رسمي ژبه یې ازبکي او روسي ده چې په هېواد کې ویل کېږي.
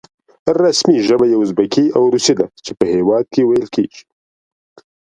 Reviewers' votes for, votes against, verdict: 2, 0, accepted